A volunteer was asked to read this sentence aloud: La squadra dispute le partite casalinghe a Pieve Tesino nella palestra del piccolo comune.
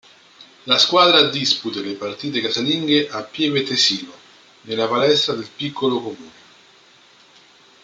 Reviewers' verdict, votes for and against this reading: accepted, 2, 0